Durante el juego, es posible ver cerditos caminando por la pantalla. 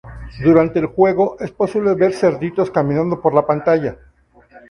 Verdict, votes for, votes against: accepted, 2, 0